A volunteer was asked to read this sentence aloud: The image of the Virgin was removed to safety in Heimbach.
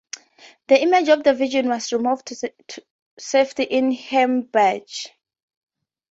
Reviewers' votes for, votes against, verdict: 0, 2, rejected